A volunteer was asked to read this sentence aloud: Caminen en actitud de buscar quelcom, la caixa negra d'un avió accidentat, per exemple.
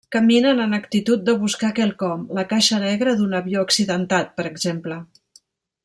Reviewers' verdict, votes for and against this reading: accepted, 4, 1